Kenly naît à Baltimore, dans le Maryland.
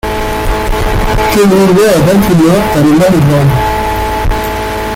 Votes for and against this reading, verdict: 0, 2, rejected